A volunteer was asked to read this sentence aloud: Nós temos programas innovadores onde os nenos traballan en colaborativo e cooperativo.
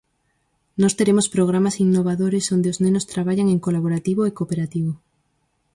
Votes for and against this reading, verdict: 2, 4, rejected